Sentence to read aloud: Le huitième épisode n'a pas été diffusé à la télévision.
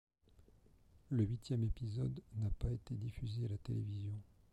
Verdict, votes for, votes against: rejected, 1, 2